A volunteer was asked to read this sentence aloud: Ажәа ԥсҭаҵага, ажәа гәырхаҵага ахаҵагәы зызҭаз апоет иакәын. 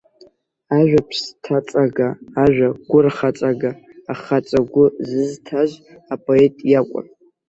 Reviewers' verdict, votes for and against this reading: rejected, 1, 2